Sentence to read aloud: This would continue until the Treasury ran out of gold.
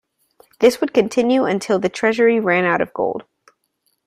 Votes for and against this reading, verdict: 2, 0, accepted